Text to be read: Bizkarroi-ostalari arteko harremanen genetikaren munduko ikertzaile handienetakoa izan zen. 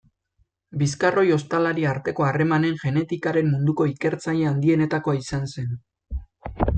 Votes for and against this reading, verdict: 2, 0, accepted